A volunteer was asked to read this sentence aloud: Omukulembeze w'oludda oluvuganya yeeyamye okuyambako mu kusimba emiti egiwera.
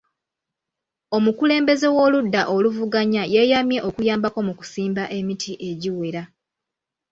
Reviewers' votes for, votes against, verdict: 2, 0, accepted